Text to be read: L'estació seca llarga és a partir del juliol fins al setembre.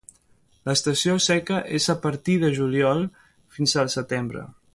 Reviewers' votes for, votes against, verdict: 0, 2, rejected